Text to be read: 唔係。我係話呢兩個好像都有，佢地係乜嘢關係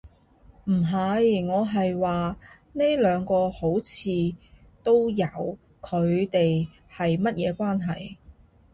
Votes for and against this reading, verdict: 0, 2, rejected